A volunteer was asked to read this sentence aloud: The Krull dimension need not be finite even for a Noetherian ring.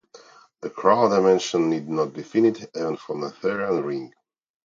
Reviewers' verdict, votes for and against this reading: rejected, 0, 2